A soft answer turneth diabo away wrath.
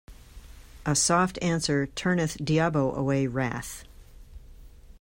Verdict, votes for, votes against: accepted, 2, 0